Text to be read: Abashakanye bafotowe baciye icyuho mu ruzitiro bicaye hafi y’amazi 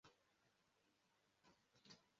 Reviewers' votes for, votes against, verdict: 0, 2, rejected